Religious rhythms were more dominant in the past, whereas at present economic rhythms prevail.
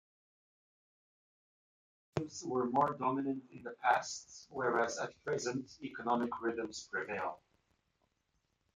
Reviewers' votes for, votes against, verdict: 0, 2, rejected